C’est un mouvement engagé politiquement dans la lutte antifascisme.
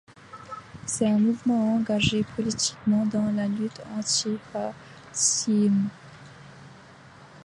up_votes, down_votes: 0, 2